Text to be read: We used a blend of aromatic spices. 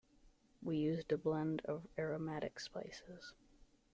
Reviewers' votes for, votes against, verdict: 1, 2, rejected